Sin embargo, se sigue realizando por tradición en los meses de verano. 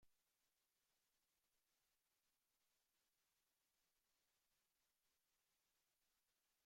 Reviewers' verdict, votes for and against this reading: rejected, 0, 2